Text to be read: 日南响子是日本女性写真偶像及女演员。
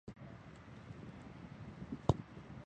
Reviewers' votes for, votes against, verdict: 0, 3, rejected